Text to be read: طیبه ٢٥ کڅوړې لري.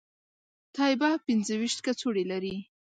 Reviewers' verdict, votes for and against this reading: rejected, 0, 2